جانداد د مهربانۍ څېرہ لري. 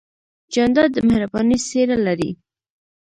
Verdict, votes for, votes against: rejected, 1, 2